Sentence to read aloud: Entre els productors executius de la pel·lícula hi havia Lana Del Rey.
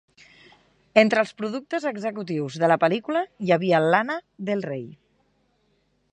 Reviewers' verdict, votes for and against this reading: rejected, 0, 2